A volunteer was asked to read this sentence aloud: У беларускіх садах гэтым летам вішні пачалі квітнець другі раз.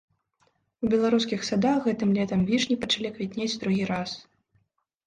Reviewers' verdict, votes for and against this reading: accepted, 2, 0